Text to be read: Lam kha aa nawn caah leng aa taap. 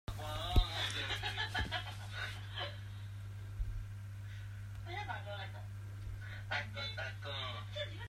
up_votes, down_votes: 1, 2